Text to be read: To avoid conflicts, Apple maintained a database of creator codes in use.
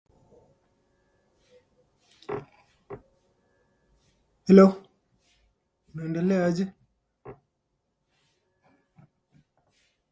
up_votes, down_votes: 0, 3